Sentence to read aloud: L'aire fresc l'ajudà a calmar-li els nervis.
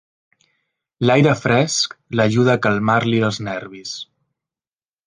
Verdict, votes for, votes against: rejected, 1, 2